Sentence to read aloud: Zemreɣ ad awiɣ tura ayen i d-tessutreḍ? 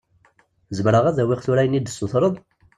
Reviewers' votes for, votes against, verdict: 2, 0, accepted